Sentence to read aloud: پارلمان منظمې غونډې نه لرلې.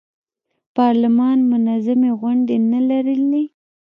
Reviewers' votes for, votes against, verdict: 0, 2, rejected